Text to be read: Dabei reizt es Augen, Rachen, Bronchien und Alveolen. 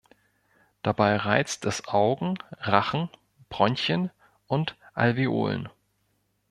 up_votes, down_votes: 2, 0